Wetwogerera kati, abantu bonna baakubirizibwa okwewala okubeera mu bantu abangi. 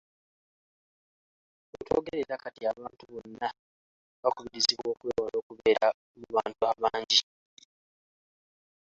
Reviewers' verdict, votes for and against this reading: accepted, 2, 1